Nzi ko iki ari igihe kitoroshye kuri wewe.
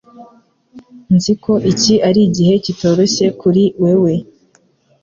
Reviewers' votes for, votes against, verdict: 2, 0, accepted